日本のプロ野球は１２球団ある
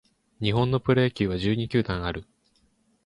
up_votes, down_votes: 0, 2